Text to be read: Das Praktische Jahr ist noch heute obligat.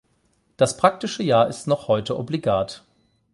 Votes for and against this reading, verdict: 8, 0, accepted